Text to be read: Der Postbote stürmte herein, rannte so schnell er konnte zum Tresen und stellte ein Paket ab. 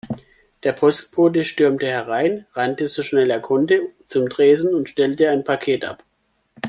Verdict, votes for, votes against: accepted, 2, 0